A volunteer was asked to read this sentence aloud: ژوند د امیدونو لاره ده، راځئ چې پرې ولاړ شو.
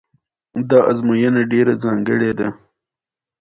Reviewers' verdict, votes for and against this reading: rejected, 1, 2